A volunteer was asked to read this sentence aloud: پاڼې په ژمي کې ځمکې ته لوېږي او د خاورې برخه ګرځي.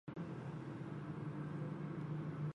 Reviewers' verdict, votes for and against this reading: rejected, 0, 2